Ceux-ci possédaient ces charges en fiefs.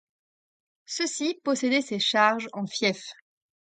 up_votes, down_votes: 2, 0